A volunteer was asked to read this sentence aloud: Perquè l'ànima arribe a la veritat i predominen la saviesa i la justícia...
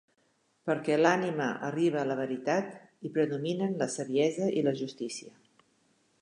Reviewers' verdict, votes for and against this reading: accepted, 2, 0